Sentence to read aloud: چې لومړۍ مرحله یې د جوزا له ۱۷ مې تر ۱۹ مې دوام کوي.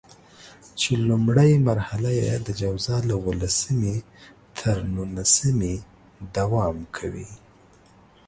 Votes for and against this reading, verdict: 0, 2, rejected